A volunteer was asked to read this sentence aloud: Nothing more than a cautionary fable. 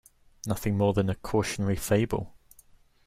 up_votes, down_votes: 2, 0